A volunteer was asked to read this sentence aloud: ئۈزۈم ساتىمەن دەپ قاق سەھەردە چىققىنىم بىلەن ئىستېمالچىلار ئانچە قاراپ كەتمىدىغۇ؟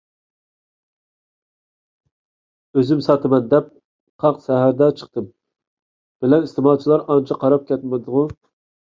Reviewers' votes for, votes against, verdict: 1, 2, rejected